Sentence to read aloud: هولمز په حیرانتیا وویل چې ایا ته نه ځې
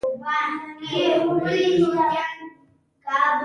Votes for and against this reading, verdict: 1, 2, rejected